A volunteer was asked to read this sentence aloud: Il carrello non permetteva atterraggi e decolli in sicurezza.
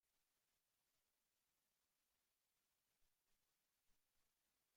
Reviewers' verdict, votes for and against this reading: rejected, 0, 2